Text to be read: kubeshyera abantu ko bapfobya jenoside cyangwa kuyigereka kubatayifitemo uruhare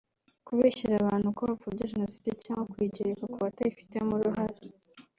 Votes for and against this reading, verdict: 3, 0, accepted